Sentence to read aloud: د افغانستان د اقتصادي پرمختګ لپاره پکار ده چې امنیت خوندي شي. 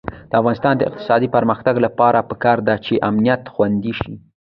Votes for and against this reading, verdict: 0, 2, rejected